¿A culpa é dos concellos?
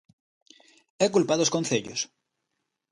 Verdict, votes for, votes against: accepted, 2, 1